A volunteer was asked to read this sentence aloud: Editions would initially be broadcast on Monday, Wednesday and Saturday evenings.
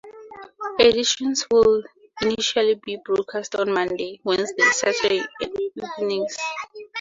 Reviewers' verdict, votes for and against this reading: rejected, 0, 4